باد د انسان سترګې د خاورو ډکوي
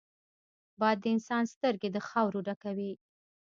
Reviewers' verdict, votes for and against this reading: rejected, 1, 2